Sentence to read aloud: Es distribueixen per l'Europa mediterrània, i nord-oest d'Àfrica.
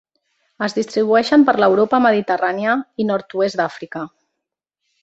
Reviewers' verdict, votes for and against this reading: accepted, 2, 0